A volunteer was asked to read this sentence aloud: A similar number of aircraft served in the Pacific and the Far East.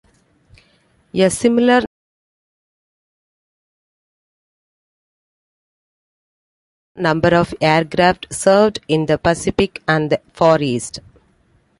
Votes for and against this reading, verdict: 0, 2, rejected